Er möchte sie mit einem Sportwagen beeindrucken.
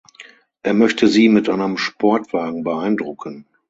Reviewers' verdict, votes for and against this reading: accepted, 6, 0